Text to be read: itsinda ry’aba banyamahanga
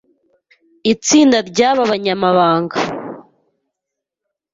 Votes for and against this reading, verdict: 0, 2, rejected